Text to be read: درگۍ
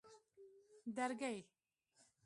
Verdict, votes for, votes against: accepted, 2, 0